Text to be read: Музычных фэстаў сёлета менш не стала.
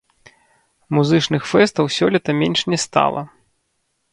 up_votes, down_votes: 2, 1